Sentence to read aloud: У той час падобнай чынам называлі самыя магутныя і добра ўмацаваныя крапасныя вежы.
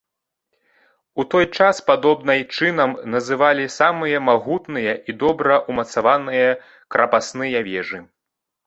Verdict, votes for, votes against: accepted, 2, 0